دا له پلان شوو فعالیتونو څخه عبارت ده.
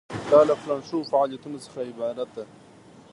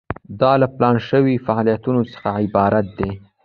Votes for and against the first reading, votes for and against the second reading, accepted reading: 2, 0, 0, 2, first